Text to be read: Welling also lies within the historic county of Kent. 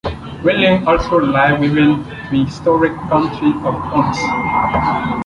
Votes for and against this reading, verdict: 1, 2, rejected